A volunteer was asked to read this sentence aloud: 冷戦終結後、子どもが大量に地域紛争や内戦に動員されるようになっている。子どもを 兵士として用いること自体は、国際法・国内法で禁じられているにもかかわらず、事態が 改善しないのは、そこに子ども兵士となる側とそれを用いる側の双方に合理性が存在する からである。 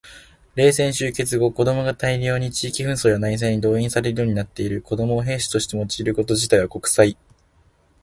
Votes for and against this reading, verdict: 2, 1, accepted